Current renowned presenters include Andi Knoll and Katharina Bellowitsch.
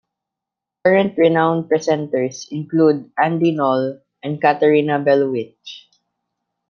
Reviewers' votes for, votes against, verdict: 2, 0, accepted